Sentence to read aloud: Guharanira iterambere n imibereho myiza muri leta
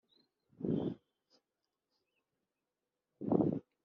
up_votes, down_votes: 1, 2